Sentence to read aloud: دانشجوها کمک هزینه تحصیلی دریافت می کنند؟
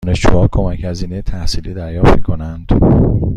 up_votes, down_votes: 2, 0